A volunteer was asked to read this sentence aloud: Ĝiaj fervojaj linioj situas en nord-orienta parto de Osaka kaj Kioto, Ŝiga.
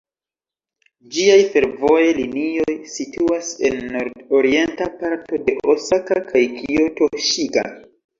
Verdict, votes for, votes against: accepted, 3, 1